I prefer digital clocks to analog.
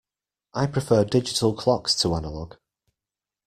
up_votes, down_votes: 2, 0